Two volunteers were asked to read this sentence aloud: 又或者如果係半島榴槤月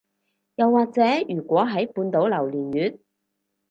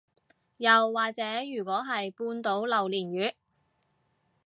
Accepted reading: second